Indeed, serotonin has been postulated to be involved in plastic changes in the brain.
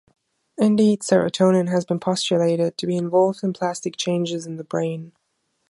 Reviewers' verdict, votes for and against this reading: accepted, 2, 1